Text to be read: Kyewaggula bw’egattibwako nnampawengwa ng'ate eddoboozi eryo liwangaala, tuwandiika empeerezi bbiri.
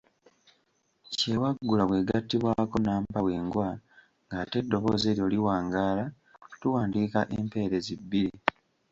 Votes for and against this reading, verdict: 2, 1, accepted